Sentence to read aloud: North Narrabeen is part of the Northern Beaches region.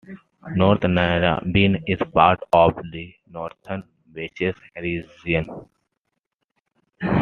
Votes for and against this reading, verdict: 1, 2, rejected